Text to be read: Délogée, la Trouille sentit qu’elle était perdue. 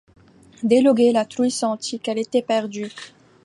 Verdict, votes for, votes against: rejected, 0, 2